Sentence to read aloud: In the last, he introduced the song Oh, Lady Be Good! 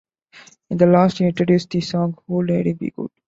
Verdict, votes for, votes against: accepted, 2, 0